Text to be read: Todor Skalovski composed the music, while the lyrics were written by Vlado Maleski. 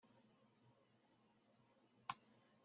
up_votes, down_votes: 0, 2